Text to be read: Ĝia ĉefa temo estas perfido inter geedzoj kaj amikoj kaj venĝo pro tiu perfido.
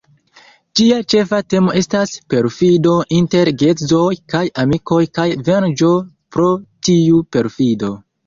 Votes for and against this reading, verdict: 2, 3, rejected